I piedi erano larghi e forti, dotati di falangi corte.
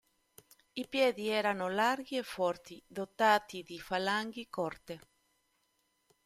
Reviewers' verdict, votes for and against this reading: rejected, 1, 2